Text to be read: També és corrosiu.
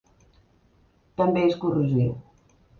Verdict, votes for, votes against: rejected, 1, 2